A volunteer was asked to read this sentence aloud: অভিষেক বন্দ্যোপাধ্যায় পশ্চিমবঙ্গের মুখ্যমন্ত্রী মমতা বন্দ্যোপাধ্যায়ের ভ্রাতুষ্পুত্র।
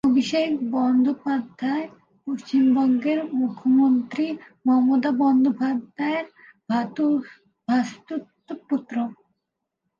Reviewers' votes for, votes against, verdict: 0, 2, rejected